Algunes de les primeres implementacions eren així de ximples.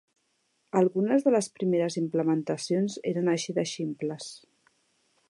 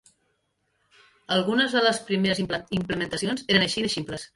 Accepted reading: first